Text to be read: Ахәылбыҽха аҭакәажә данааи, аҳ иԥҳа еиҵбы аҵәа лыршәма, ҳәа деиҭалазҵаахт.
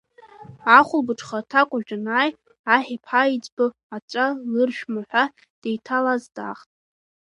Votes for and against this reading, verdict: 1, 2, rejected